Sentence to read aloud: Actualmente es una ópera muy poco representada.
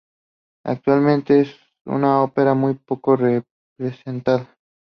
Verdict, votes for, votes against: accepted, 2, 0